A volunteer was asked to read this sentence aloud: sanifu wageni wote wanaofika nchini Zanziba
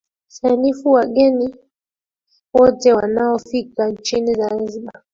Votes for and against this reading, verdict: 0, 2, rejected